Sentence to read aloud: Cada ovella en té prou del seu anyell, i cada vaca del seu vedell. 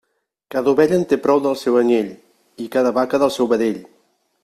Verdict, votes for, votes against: accepted, 3, 0